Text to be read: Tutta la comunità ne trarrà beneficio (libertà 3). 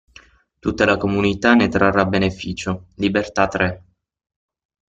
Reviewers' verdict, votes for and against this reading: rejected, 0, 2